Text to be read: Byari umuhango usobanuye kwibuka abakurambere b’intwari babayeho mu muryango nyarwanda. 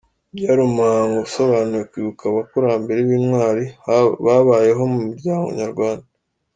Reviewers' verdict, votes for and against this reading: rejected, 1, 2